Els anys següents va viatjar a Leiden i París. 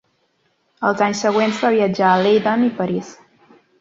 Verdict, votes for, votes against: accepted, 2, 1